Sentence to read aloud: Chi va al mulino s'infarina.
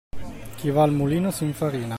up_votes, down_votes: 2, 0